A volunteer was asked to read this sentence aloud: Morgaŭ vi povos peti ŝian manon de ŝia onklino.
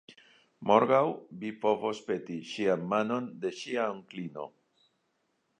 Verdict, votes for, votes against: accepted, 2, 1